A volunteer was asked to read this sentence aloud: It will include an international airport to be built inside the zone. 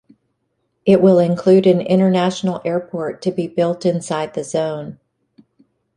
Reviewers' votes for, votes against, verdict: 2, 0, accepted